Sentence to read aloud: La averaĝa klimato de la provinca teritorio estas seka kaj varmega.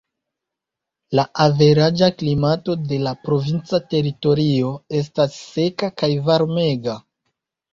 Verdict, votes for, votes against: rejected, 1, 2